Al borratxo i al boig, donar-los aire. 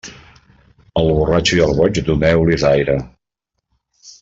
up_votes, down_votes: 0, 2